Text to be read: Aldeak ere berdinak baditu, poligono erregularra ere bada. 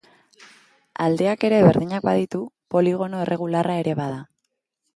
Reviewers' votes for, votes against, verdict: 2, 0, accepted